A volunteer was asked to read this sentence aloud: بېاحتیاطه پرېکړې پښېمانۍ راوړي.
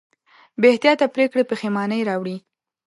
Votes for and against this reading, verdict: 2, 0, accepted